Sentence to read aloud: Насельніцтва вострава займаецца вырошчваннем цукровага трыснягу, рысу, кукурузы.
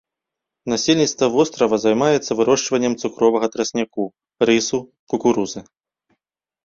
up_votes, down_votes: 1, 2